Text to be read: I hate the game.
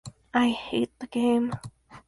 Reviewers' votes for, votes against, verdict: 4, 0, accepted